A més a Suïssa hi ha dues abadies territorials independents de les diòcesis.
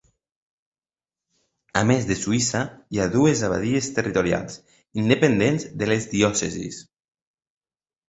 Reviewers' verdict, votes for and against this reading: rejected, 0, 2